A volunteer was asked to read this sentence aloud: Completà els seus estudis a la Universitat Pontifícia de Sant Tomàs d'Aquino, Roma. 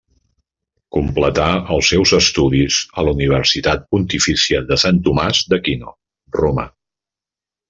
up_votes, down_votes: 2, 0